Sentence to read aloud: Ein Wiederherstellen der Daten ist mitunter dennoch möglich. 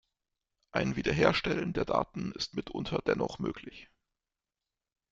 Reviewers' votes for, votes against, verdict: 2, 0, accepted